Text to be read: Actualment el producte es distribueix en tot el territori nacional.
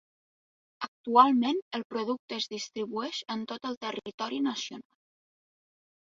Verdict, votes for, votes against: rejected, 0, 2